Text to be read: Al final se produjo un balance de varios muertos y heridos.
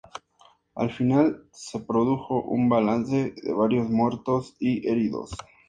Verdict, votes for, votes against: accepted, 2, 0